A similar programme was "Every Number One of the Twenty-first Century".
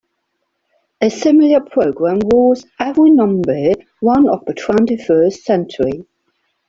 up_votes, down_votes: 2, 0